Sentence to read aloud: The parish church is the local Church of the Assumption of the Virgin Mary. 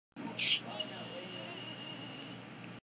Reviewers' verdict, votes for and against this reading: rejected, 0, 2